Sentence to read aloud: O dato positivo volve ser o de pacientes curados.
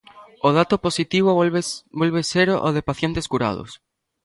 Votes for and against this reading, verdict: 0, 2, rejected